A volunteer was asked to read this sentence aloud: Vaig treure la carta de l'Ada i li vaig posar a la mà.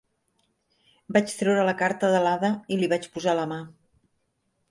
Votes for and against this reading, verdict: 2, 0, accepted